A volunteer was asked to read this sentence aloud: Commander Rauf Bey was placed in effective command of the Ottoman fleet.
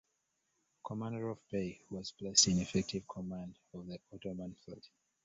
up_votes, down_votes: 0, 3